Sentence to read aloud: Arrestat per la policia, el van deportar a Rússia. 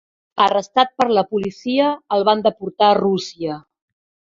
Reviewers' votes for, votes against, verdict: 3, 0, accepted